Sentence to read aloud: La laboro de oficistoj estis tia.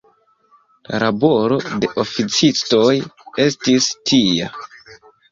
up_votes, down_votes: 2, 1